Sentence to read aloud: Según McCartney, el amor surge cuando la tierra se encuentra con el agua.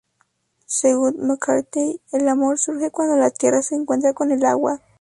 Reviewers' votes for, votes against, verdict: 4, 0, accepted